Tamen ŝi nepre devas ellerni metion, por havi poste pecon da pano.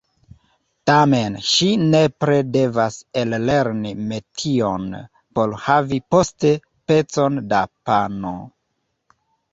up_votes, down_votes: 2, 0